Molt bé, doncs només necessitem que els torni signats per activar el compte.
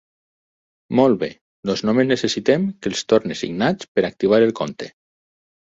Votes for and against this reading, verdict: 0, 4, rejected